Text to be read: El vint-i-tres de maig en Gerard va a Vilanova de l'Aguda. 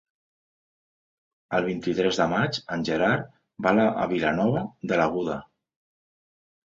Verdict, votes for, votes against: accepted, 2, 1